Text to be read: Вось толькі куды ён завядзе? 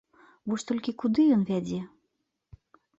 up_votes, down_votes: 0, 2